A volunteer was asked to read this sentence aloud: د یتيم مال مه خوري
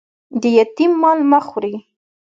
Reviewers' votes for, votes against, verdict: 2, 0, accepted